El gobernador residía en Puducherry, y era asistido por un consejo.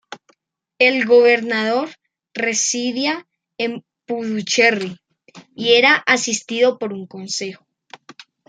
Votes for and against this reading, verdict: 1, 2, rejected